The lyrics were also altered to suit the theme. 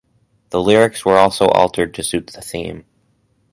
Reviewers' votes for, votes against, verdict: 4, 0, accepted